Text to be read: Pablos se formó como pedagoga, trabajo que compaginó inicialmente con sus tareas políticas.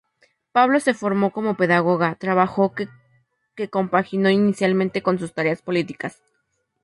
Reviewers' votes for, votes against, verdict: 0, 2, rejected